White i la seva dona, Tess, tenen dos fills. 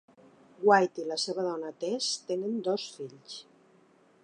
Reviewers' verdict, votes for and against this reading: accepted, 3, 0